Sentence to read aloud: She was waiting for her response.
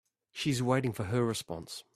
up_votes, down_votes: 1, 3